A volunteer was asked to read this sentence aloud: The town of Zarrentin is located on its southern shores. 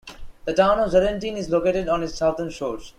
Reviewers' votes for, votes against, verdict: 1, 2, rejected